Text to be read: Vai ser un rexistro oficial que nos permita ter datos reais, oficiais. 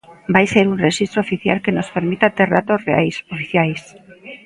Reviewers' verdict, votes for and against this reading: accepted, 2, 0